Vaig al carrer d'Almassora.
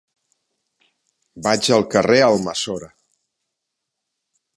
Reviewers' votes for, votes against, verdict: 1, 2, rejected